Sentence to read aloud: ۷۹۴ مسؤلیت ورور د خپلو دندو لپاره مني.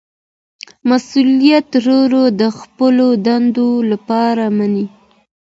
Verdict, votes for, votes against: rejected, 0, 2